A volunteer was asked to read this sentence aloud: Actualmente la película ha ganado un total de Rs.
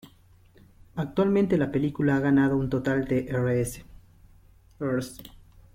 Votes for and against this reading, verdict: 0, 3, rejected